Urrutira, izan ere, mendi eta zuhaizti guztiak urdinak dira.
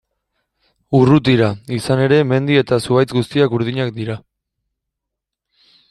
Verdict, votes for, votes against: rejected, 1, 2